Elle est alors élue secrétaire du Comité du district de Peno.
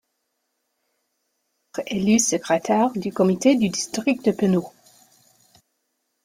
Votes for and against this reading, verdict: 2, 0, accepted